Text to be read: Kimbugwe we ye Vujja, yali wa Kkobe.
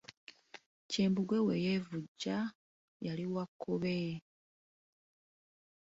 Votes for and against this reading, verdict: 1, 2, rejected